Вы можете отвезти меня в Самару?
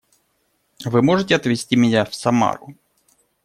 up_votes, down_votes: 0, 2